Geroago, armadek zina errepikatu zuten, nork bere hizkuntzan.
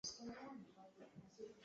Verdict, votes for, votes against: rejected, 0, 2